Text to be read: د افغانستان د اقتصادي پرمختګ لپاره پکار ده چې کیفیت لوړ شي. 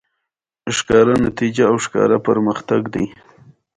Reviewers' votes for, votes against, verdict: 0, 2, rejected